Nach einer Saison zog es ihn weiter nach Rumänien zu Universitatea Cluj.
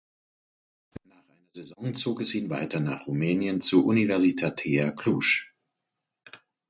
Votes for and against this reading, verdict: 0, 4, rejected